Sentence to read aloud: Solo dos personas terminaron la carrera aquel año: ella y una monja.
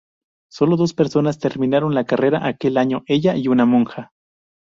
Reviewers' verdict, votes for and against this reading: accepted, 2, 0